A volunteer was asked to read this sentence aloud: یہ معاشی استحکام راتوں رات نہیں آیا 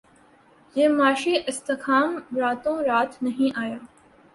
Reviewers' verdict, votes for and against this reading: accepted, 2, 1